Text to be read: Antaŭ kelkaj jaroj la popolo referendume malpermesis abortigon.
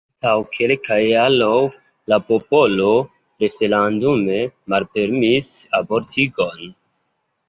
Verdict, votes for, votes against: accepted, 2, 1